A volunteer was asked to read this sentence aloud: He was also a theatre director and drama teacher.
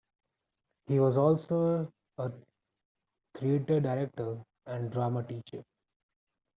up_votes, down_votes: 2, 1